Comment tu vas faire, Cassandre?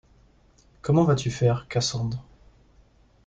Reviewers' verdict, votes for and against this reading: rejected, 0, 2